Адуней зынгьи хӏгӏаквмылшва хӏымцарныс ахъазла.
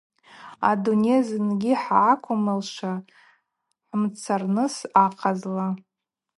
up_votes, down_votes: 4, 0